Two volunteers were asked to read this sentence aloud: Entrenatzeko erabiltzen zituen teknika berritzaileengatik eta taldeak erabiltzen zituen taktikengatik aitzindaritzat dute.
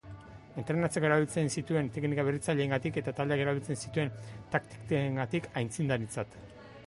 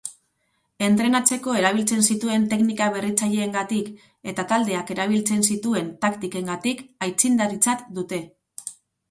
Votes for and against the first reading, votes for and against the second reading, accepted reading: 2, 3, 4, 0, second